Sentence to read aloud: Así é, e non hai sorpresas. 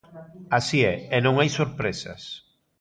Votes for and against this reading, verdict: 1, 2, rejected